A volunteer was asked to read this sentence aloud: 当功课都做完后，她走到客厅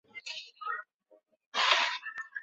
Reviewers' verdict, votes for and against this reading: rejected, 0, 2